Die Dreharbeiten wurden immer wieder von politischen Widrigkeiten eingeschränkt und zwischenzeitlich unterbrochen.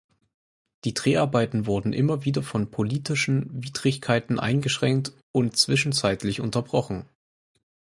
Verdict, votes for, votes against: accepted, 4, 0